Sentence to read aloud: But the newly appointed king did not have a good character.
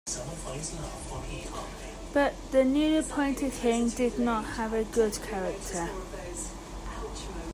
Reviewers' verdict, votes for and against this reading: rejected, 0, 2